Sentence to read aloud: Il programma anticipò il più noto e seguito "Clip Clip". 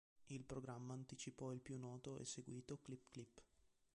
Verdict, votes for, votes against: accepted, 2, 1